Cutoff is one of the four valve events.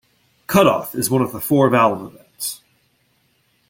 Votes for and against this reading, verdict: 2, 0, accepted